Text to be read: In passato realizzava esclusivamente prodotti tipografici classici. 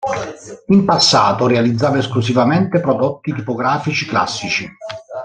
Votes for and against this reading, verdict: 2, 1, accepted